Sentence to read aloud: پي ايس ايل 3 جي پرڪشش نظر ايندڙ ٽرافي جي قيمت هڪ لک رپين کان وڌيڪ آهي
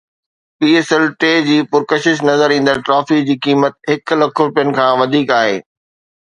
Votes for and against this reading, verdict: 0, 2, rejected